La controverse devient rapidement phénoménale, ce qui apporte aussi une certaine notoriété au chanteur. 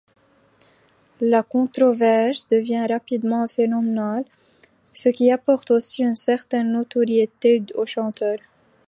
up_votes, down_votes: 1, 2